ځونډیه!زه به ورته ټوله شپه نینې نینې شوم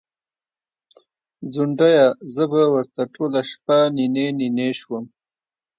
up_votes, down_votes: 2, 0